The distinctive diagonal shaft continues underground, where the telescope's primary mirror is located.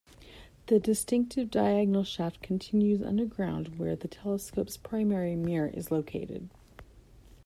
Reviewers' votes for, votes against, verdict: 2, 0, accepted